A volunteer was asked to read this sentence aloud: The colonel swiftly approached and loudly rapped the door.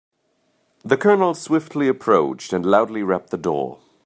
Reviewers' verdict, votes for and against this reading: accepted, 2, 0